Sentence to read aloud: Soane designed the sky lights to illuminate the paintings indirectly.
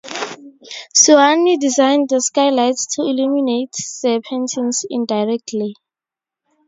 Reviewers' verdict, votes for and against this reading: accepted, 2, 0